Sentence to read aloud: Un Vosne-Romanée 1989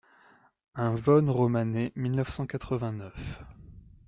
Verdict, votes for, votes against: rejected, 0, 2